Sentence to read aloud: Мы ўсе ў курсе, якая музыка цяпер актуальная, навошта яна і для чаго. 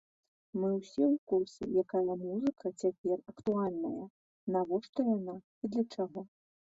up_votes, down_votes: 0, 2